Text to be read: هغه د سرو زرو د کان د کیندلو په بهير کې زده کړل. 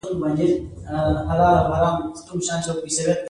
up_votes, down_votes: 1, 2